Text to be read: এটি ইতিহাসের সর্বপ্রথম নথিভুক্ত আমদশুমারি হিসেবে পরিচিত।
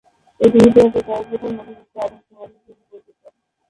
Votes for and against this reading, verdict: 0, 2, rejected